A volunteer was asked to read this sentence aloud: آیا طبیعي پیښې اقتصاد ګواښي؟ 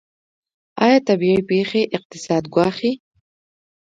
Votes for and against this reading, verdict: 3, 1, accepted